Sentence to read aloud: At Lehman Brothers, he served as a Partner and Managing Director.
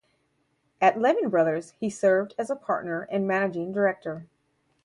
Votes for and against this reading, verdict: 4, 0, accepted